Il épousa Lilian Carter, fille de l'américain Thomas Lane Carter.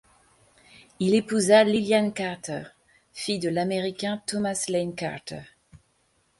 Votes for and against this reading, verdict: 2, 0, accepted